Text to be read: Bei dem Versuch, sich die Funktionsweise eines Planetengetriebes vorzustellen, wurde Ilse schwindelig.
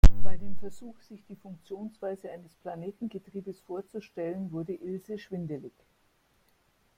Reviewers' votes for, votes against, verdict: 1, 2, rejected